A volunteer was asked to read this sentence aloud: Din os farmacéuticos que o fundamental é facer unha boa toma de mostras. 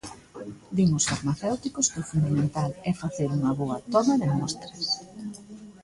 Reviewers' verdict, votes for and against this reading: rejected, 0, 2